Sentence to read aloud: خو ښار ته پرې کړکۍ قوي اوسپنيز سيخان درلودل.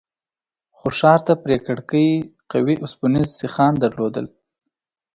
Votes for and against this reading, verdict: 4, 0, accepted